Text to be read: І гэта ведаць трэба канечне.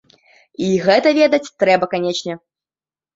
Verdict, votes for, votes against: accepted, 2, 0